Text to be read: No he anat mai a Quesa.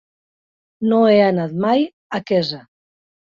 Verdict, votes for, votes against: accepted, 3, 0